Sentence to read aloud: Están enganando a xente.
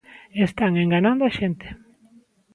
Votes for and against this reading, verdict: 1, 2, rejected